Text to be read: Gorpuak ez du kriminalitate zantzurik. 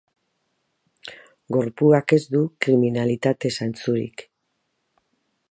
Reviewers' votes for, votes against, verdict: 2, 0, accepted